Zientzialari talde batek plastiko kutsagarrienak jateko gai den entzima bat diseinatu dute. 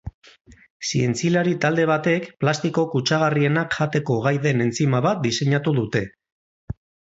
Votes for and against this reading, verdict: 2, 4, rejected